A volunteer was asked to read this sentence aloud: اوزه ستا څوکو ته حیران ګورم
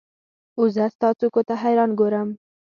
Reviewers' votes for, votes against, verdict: 0, 2, rejected